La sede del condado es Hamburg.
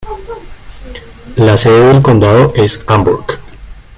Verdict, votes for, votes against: accepted, 2, 1